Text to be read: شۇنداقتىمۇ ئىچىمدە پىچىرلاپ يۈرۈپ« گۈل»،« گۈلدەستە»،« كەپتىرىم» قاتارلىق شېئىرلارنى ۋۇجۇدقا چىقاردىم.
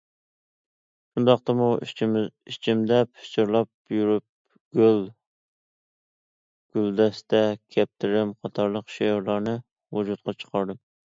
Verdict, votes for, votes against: rejected, 0, 2